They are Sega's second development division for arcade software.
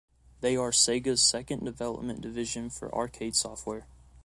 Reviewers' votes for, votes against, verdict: 2, 0, accepted